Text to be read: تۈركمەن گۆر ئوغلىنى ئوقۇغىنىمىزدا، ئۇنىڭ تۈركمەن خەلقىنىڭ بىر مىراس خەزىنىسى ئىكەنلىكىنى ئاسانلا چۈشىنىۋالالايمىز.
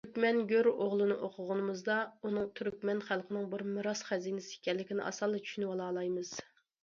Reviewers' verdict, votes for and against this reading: accepted, 2, 1